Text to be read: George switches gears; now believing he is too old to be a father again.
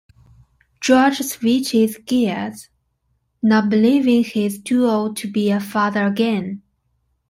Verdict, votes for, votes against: accepted, 2, 0